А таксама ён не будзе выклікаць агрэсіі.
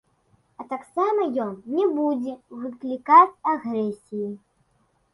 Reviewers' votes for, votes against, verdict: 2, 0, accepted